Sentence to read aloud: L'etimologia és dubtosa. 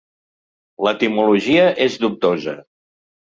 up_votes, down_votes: 2, 0